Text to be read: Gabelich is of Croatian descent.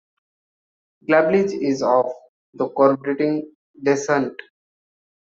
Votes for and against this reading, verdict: 0, 2, rejected